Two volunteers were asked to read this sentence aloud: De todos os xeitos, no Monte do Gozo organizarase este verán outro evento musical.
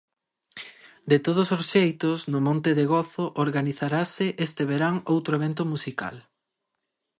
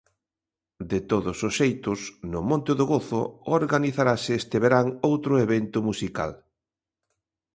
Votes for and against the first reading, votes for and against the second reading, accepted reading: 0, 2, 3, 0, second